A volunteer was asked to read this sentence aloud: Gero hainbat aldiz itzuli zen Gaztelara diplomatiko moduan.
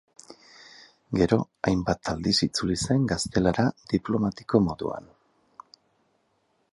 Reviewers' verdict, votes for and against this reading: accepted, 4, 0